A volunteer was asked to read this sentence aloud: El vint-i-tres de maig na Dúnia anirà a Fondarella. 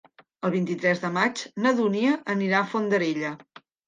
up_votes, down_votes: 3, 0